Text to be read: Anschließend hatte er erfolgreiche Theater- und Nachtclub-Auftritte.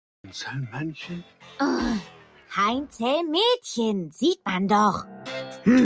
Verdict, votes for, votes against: rejected, 0, 2